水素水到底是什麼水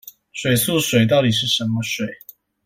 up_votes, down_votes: 2, 0